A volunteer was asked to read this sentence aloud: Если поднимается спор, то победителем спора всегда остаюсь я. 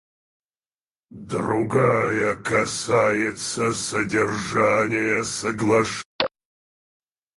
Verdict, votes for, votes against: rejected, 0, 4